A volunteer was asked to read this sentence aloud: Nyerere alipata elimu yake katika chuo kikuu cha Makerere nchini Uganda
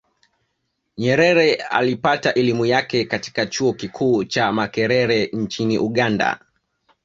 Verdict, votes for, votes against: accepted, 2, 0